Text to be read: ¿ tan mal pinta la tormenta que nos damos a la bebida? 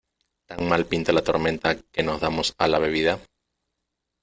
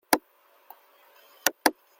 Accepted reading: first